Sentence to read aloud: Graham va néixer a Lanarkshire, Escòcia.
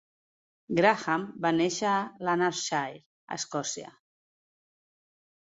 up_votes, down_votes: 2, 0